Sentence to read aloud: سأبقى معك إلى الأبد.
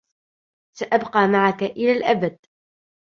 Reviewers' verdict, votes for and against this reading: accepted, 2, 0